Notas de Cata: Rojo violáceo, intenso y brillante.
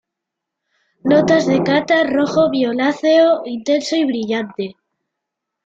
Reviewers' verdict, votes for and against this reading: accepted, 2, 1